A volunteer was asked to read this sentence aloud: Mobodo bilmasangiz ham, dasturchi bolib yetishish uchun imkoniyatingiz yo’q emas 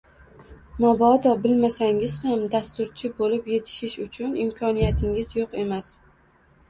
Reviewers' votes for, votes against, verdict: 0, 2, rejected